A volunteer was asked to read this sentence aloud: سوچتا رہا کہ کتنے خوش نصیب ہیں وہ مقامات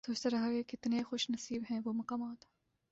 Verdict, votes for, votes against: accepted, 2, 0